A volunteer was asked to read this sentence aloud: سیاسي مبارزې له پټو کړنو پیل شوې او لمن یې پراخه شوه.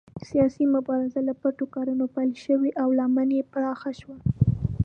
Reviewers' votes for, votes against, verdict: 2, 0, accepted